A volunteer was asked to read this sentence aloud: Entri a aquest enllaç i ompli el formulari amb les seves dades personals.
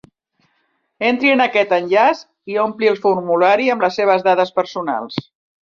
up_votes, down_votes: 0, 2